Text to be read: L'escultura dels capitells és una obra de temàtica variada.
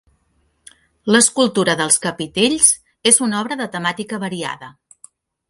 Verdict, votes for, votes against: accepted, 2, 0